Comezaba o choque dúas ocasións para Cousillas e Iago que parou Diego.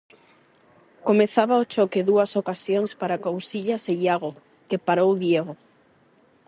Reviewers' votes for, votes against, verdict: 4, 4, rejected